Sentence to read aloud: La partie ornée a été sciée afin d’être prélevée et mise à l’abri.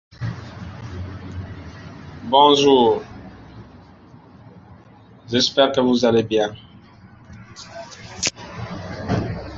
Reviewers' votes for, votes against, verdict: 0, 2, rejected